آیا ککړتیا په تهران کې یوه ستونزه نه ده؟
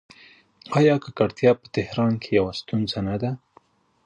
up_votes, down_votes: 0, 2